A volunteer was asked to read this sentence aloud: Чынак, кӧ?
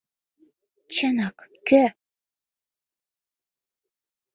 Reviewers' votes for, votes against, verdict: 2, 0, accepted